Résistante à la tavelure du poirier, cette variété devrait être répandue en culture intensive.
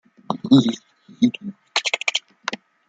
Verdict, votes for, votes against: rejected, 0, 2